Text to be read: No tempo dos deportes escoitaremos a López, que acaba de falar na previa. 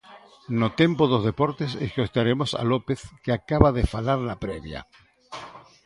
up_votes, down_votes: 1, 2